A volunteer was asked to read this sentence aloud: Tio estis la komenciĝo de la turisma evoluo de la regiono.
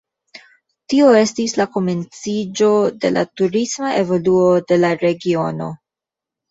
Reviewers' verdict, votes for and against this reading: accepted, 2, 0